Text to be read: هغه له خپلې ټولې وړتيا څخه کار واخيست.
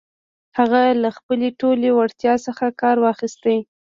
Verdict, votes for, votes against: rejected, 1, 2